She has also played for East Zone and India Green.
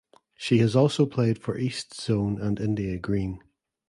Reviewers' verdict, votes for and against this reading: accepted, 2, 0